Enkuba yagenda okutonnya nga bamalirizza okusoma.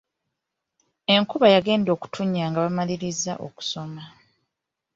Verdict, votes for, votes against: accepted, 2, 0